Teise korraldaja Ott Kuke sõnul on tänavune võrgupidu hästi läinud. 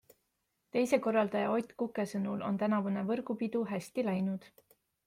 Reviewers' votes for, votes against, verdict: 2, 0, accepted